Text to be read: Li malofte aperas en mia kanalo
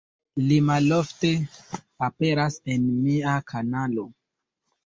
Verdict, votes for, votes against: accepted, 2, 0